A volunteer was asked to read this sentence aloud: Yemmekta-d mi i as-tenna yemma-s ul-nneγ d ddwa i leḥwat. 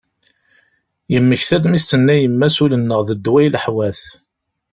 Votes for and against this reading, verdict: 1, 2, rejected